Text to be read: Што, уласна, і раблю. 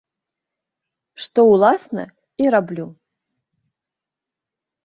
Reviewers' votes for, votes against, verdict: 2, 0, accepted